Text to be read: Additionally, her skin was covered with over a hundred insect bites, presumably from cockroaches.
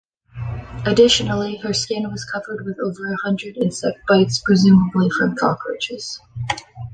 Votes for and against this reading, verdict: 2, 0, accepted